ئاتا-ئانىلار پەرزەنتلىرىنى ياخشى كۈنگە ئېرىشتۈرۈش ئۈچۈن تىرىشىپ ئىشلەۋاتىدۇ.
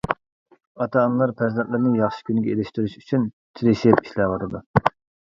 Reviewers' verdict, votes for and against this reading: accepted, 2, 0